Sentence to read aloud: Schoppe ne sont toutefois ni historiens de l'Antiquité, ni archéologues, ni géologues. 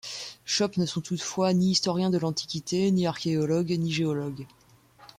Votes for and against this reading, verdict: 2, 0, accepted